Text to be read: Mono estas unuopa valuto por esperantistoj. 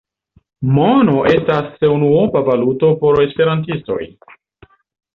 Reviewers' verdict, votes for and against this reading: accepted, 2, 0